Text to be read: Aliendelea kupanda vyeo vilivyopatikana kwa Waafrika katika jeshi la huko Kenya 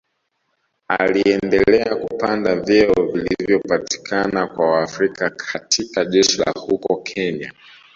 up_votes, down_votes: 2, 1